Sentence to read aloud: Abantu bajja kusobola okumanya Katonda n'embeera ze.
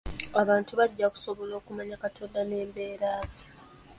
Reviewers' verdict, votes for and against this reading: accepted, 2, 0